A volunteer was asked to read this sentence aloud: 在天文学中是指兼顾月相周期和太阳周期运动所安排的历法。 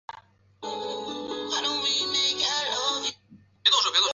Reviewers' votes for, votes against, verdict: 0, 2, rejected